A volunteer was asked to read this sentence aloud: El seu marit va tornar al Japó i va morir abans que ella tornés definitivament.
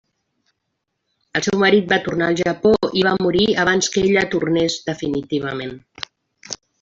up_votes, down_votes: 3, 0